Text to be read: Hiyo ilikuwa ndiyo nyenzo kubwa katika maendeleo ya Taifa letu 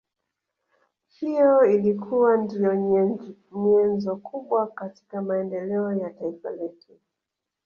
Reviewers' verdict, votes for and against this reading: accepted, 2, 1